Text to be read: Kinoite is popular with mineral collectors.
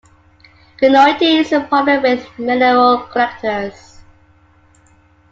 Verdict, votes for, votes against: accepted, 2, 1